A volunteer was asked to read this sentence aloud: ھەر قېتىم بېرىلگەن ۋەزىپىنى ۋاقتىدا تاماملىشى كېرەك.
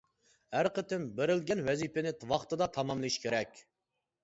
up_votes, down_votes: 2, 0